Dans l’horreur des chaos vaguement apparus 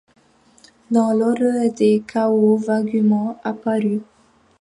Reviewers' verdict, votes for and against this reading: accepted, 3, 1